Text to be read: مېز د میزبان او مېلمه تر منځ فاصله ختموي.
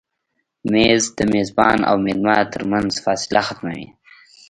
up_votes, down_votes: 1, 2